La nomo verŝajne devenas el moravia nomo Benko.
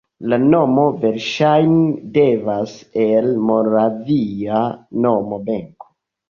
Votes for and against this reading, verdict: 2, 1, accepted